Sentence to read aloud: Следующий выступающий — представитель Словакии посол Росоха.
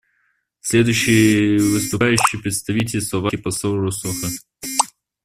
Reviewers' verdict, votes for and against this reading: rejected, 0, 2